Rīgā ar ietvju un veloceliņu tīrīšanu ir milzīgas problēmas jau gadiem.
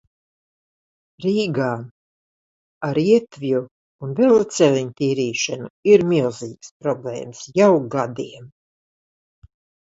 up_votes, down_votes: 2, 0